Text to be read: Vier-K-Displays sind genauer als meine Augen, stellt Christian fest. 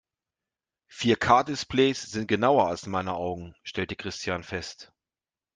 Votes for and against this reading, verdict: 1, 2, rejected